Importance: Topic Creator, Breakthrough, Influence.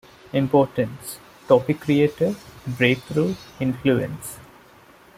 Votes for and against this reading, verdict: 0, 2, rejected